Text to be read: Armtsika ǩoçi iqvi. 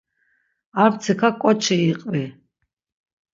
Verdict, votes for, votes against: accepted, 6, 0